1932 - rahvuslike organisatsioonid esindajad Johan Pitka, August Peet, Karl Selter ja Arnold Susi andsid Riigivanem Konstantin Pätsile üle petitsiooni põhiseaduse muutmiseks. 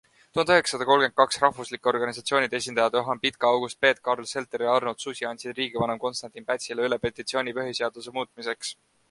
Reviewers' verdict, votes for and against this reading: rejected, 0, 2